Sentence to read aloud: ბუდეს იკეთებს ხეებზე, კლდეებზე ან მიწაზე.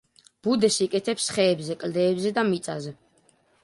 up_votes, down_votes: 0, 2